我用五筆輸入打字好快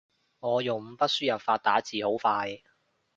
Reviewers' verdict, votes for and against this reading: rejected, 1, 2